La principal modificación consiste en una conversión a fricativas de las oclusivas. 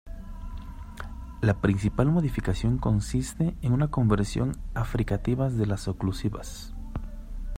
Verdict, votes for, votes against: accepted, 2, 0